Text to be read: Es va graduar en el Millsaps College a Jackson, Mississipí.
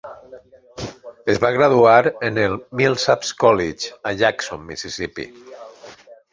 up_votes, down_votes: 0, 2